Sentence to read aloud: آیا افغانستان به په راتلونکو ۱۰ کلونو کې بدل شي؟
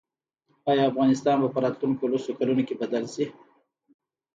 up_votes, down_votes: 0, 2